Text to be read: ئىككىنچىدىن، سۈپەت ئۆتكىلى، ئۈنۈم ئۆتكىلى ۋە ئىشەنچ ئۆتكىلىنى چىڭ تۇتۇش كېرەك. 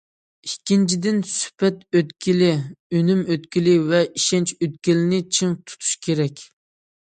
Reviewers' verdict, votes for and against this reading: accepted, 2, 0